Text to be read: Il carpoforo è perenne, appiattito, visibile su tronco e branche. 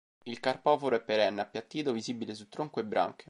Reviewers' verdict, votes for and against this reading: accepted, 2, 0